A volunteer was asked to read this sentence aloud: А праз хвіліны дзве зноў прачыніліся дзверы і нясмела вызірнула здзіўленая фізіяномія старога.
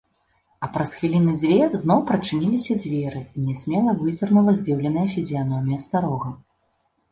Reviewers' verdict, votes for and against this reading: accepted, 2, 0